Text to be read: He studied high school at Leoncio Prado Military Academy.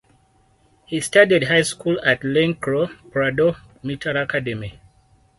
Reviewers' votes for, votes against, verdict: 4, 0, accepted